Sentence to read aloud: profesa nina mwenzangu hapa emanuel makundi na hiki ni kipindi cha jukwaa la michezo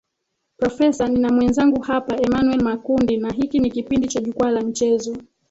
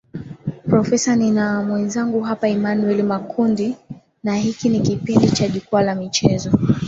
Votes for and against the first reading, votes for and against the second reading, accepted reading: 2, 3, 2, 0, second